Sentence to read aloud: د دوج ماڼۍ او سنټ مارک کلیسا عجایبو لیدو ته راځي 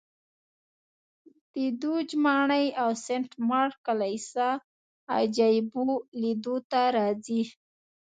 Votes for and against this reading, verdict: 3, 0, accepted